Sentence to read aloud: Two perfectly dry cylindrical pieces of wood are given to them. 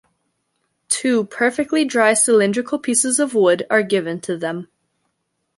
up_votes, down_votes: 2, 0